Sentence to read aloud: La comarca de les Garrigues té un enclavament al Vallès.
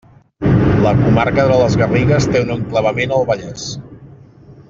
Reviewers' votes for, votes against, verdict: 1, 2, rejected